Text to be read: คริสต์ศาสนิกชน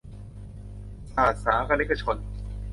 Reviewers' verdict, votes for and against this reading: rejected, 0, 2